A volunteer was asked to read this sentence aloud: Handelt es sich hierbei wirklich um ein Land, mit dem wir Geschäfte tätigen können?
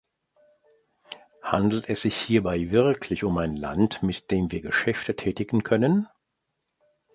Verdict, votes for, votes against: accepted, 2, 0